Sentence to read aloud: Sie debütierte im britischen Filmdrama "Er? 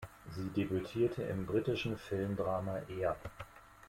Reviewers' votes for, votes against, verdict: 2, 0, accepted